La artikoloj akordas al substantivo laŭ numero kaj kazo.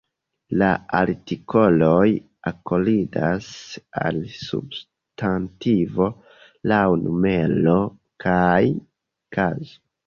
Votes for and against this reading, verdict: 0, 2, rejected